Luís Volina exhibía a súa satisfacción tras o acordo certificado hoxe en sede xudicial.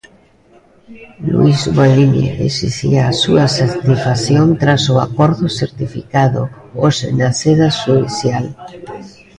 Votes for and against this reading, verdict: 0, 2, rejected